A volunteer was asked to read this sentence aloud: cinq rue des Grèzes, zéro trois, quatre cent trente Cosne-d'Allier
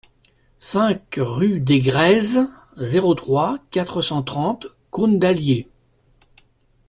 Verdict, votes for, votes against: accepted, 2, 0